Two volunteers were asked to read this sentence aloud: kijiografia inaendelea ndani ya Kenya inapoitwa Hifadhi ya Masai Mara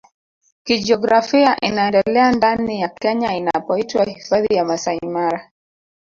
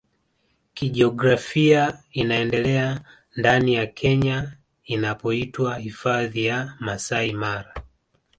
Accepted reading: second